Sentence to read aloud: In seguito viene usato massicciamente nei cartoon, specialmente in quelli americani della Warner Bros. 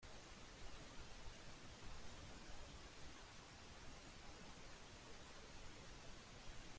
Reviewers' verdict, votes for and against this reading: rejected, 0, 2